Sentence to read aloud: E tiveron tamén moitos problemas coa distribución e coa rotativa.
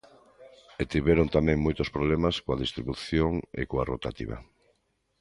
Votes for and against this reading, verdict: 2, 0, accepted